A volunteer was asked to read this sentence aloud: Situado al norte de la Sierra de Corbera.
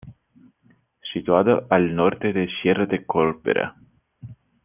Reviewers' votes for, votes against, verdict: 1, 2, rejected